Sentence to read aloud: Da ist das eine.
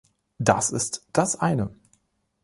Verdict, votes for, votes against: rejected, 1, 2